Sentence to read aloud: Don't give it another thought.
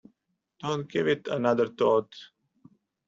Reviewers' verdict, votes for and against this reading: accepted, 2, 0